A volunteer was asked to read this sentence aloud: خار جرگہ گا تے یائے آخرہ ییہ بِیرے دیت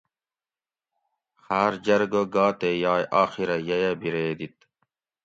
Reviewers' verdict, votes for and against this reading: accepted, 2, 0